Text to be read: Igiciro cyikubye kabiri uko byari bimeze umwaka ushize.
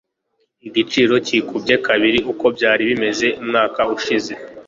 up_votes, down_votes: 2, 0